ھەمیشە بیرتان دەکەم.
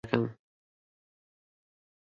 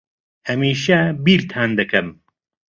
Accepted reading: second